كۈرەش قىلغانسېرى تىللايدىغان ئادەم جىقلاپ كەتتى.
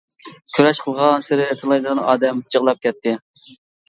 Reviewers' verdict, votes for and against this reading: accepted, 2, 0